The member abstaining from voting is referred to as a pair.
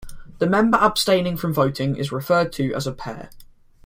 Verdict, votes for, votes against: accepted, 2, 0